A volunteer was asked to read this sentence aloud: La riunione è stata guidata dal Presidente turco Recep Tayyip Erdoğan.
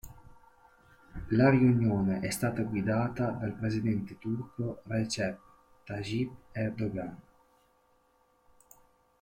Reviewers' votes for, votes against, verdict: 2, 1, accepted